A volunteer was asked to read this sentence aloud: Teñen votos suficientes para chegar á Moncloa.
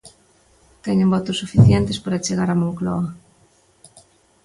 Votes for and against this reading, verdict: 2, 0, accepted